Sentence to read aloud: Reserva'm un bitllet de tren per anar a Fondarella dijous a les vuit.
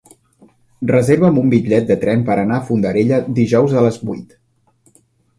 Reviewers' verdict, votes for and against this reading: accepted, 3, 0